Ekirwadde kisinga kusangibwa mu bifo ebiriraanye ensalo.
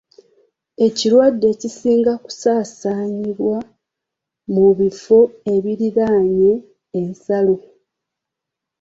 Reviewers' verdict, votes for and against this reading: rejected, 1, 2